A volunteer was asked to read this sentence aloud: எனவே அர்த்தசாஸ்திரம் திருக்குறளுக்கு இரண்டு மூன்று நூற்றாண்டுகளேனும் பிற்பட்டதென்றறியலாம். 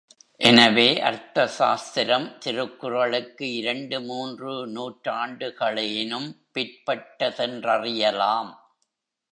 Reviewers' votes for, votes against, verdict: 2, 0, accepted